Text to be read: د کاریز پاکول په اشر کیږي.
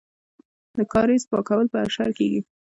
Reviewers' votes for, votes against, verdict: 0, 2, rejected